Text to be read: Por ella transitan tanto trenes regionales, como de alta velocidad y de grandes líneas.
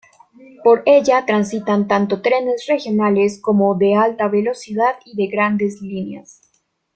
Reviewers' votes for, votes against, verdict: 2, 0, accepted